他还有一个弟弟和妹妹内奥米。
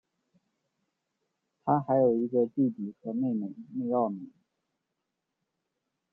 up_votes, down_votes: 2, 1